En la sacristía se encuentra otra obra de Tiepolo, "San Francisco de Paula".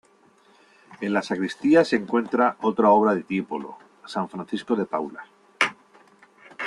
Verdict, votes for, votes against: accepted, 2, 0